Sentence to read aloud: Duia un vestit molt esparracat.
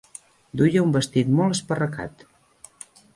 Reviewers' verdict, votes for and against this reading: accepted, 3, 0